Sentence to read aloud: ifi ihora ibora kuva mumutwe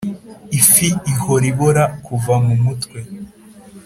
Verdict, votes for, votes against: accepted, 4, 0